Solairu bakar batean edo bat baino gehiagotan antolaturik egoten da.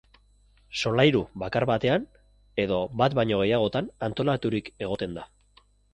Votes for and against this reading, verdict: 7, 0, accepted